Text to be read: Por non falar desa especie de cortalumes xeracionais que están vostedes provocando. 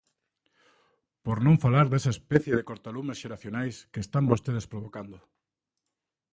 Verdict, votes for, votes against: accepted, 2, 0